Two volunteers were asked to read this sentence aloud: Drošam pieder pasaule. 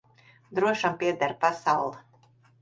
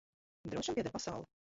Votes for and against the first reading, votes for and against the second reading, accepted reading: 2, 0, 1, 2, first